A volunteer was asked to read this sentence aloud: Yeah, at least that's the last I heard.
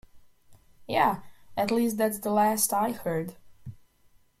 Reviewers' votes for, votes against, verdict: 1, 2, rejected